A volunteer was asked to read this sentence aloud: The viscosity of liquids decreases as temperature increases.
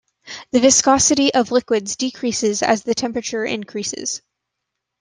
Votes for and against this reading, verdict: 1, 2, rejected